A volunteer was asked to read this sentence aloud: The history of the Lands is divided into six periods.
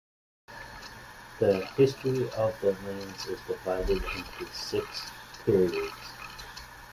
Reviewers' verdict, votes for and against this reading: accepted, 2, 0